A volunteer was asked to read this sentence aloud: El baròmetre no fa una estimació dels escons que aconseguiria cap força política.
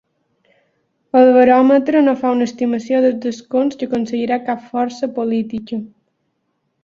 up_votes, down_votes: 0, 3